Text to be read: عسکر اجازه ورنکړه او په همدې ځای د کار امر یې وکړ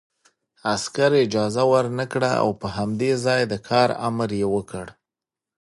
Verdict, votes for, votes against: rejected, 1, 2